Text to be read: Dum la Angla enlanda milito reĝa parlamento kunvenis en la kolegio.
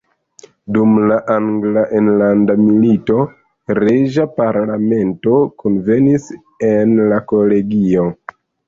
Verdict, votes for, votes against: accepted, 3, 0